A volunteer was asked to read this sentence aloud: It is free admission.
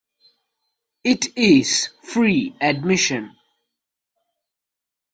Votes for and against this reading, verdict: 2, 1, accepted